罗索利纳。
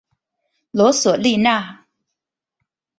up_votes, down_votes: 4, 0